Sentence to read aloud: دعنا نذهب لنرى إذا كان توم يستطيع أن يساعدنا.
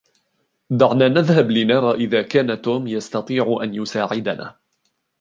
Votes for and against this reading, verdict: 2, 0, accepted